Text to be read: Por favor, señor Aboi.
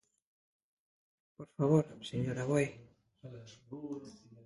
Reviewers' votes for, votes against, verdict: 0, 2, rejected